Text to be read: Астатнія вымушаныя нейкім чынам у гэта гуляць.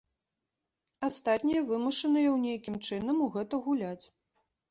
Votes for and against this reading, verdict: 0, 2, rejected